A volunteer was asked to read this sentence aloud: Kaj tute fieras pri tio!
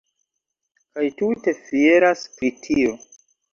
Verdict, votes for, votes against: accepted, 2, 1